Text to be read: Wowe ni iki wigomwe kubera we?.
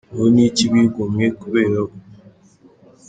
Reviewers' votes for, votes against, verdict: 1, 2, rejected